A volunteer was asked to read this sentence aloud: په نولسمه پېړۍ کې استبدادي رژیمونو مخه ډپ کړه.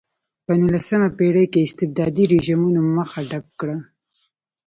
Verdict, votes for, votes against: accepted, 2, 0